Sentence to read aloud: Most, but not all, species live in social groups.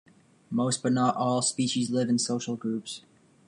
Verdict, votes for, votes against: accepted, 2, 0